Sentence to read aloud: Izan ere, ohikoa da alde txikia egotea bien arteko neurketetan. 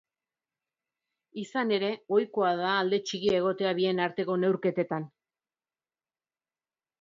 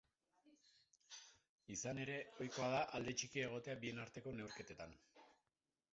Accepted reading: first